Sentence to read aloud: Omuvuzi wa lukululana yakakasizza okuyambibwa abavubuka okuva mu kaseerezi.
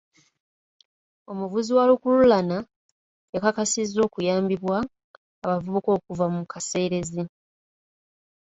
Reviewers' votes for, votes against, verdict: 1, 2, rejected